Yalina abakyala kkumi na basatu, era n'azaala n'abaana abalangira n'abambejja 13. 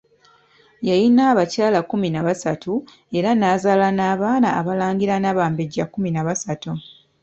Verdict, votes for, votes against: rejected, 0, 2